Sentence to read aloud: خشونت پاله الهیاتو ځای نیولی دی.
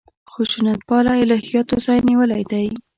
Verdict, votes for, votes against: rejected, 0, 2